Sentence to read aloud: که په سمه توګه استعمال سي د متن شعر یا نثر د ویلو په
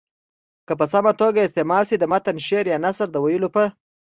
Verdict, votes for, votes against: accepted, 2, 0